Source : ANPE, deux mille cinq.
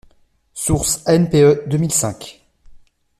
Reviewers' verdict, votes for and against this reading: accepted, 2, 0